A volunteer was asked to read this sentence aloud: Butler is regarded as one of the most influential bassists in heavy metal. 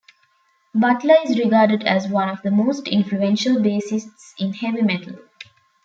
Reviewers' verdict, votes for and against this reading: accepted, 2, 0